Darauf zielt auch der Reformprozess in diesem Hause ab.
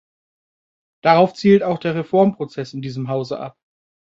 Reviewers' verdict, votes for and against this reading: accepted, 3, 0